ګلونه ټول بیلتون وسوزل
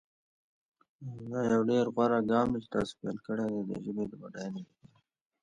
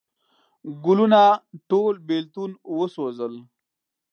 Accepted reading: second